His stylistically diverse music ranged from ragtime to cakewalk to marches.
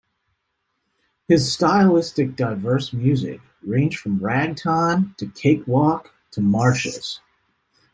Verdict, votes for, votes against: rejected, 0, 2